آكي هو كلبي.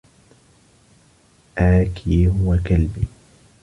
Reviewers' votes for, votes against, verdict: 2, 0, accepted